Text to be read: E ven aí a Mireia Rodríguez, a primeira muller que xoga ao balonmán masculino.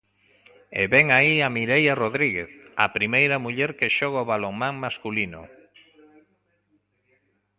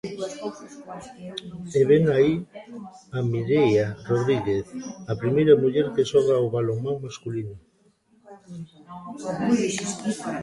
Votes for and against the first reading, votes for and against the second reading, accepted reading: 2, 0, 1, 2, first